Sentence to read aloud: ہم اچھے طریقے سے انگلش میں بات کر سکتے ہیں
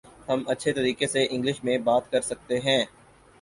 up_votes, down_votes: 4, 0